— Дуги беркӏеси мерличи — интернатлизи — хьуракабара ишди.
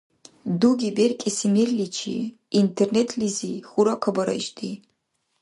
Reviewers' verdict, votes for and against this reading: rejected, 0, 2